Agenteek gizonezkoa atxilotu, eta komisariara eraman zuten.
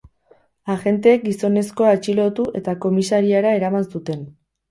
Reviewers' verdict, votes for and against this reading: rejected, 2, 2